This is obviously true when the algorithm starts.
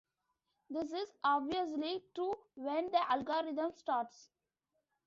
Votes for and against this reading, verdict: 0, 2, rejected